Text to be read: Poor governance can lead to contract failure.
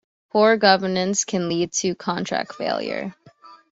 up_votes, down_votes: 2, 0